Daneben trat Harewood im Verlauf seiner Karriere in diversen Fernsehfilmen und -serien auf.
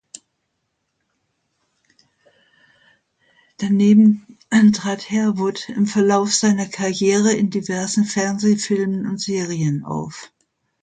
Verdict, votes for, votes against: accepted, 2, 0